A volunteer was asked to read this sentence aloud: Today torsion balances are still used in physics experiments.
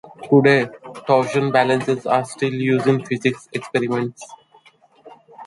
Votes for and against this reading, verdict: 2, 0, accepted